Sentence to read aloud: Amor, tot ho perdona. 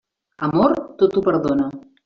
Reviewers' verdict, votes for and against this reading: accepted, 3, 0